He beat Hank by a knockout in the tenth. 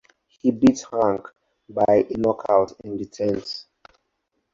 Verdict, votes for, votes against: accepted, 4, 2